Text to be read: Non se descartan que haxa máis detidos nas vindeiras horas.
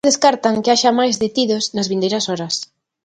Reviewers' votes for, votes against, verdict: 0, 2, rejected